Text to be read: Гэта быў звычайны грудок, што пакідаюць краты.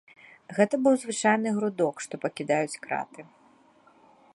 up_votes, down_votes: 0, 3